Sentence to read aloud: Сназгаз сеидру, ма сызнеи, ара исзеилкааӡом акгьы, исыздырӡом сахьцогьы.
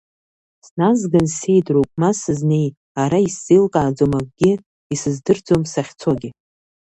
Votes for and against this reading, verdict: 0, 2, rejected